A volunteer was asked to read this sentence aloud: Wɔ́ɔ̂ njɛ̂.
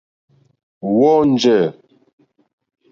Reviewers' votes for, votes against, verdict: 2, 0, accepted